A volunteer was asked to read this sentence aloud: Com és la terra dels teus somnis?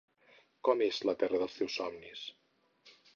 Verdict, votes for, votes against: accepted, 4, 0